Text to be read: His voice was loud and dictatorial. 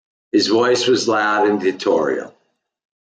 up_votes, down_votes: 1, 2